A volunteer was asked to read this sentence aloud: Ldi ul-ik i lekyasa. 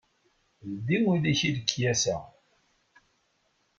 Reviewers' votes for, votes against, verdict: 2, 0, accepted